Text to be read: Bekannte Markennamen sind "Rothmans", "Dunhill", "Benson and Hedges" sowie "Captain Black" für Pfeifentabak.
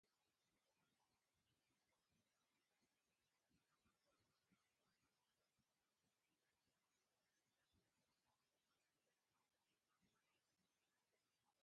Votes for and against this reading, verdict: 0, 2, rejected